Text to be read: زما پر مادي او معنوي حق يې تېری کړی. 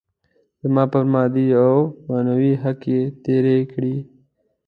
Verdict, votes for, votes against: rejected, 1, 2